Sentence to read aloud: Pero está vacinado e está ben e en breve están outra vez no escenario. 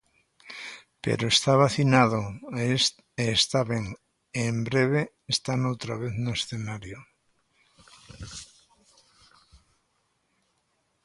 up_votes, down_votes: 0, 2